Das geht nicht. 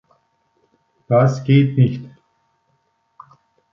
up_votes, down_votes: 2, 0